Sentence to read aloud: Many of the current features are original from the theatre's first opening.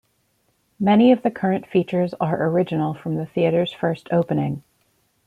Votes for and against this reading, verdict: 2, 0, accepted